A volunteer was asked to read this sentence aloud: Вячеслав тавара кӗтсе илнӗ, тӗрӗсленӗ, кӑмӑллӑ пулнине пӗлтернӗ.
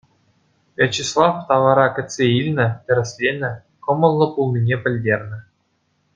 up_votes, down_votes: 2, 0